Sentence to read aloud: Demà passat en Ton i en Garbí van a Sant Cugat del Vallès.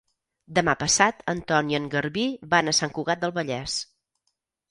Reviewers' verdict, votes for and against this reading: accepted, 4, 0